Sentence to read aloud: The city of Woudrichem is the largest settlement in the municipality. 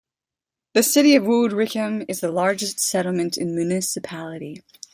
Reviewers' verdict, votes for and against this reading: accepted, 2, 0